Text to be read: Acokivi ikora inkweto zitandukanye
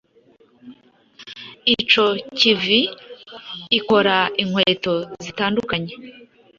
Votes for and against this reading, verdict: 1, 2, rejected